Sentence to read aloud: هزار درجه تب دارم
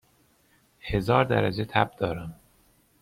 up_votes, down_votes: 2, 0